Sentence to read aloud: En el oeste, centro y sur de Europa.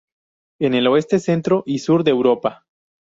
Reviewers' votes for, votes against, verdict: 2, 0, accepted